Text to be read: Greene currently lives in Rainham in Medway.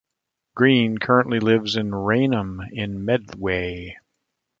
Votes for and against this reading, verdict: 2, 1, accepted